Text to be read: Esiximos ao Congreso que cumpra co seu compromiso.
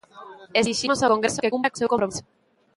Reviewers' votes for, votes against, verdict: 0, 2, rejected